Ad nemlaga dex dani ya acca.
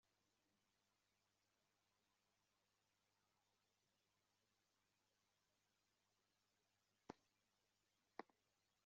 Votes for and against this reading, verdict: 0, 3, rejected